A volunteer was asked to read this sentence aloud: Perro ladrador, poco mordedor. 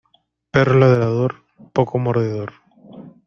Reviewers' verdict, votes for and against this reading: accepted, 2, 0